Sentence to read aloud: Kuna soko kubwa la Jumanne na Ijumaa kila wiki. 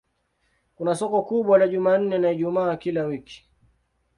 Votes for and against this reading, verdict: 2, 0, accepted